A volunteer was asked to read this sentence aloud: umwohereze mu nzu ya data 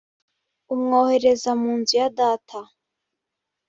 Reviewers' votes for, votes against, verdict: 1, 2, rejected